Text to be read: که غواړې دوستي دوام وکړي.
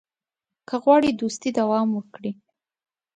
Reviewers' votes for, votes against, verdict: 2, 0, accepted